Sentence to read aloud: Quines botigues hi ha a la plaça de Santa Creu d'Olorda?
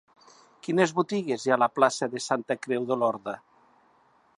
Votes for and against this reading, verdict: 2, 0, accepted